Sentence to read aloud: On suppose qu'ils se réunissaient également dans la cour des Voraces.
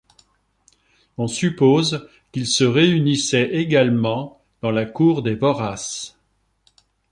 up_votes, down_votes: 3, 0